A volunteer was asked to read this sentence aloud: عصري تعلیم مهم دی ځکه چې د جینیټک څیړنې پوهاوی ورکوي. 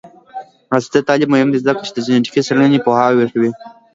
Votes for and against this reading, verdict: 2, 0, accepted